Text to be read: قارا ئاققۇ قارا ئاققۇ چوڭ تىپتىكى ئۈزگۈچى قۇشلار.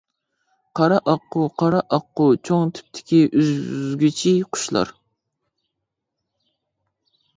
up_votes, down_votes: 1, 2